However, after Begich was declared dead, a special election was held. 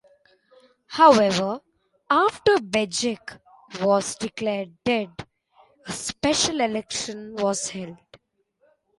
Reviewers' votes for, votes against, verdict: 2, 1, accepted